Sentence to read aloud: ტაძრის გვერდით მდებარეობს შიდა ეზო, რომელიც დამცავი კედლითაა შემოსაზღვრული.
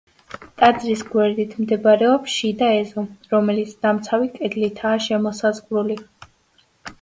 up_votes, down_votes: 2, 0